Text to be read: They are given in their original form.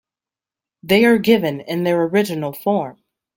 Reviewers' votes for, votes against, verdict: 2, 0, accepted